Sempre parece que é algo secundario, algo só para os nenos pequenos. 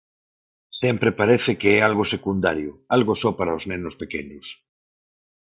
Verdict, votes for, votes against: accepted, 4, 0